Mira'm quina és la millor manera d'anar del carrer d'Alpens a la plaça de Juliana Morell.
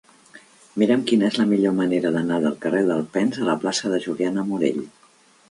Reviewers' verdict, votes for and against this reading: accepted, 2, 0